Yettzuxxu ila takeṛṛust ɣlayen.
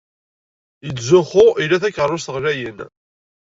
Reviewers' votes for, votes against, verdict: 3, 0, accepted